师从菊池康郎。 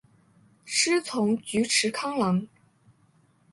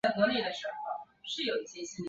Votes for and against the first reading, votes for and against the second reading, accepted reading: 3, 0, 0, 2, first